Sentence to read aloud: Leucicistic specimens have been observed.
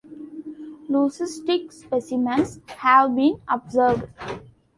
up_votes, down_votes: 0, 2